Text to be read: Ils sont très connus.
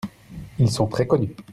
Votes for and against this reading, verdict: 2, 0, accepted